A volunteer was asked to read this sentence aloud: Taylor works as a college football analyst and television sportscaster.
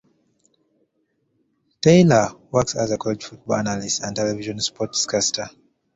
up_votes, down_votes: 2, 0